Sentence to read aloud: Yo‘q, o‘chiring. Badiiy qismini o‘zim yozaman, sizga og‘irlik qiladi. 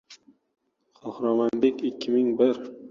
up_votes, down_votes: 0, 2